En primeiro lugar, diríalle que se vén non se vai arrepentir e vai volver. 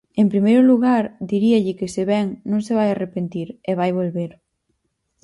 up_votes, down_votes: 4, 0